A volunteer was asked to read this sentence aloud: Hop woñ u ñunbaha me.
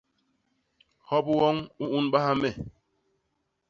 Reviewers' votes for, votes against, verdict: 2, 0, accepted